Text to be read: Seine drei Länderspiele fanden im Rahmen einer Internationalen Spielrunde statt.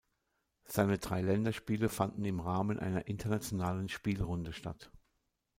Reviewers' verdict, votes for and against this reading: accepted, 2, 0